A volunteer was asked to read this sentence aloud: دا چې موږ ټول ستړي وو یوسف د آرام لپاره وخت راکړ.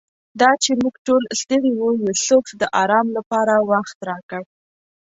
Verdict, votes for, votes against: rejected, 1, 2